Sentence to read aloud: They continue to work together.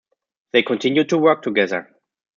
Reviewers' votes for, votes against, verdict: 2, 0, accepted